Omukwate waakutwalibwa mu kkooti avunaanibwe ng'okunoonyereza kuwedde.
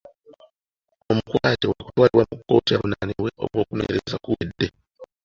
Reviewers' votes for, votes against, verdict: 0, 2, rejected